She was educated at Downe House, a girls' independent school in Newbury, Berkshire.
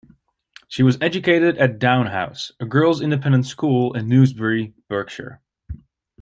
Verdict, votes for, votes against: rejected, 1, 2